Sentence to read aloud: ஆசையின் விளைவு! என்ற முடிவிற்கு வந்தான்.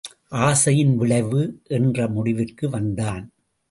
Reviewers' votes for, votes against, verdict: 2, 0, accepted